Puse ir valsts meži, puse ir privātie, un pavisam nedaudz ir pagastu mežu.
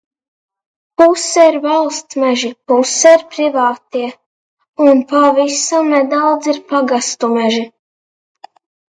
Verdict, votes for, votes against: rejected, 0, 2